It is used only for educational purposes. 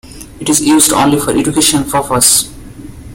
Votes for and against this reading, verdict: 0, 2, rejected